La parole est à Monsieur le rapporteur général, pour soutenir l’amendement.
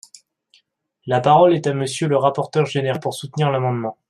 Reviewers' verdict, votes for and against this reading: rejected, 0, 2